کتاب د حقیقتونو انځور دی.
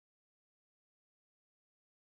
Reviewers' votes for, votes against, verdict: 0, 2, rejected